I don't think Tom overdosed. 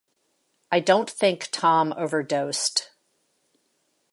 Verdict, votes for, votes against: accepted, 2, 0